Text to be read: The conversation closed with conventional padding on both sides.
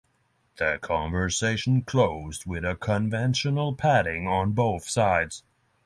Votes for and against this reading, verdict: 0, 6, rejected